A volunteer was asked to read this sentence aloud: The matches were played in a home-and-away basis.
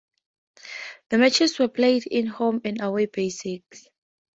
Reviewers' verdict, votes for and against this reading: accepted, 2, 0